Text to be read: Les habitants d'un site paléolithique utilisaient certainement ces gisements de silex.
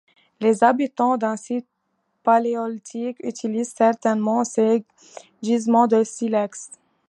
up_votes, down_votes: 2, 0